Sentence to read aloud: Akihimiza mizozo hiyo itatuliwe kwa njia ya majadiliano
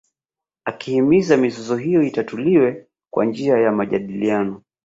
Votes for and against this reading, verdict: 4, 1, accepted